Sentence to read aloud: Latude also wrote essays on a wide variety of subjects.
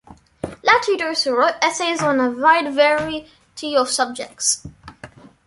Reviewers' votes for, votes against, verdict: 0, 2, rejected